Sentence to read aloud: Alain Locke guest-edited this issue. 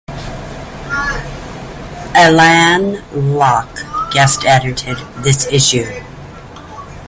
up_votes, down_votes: 0, 2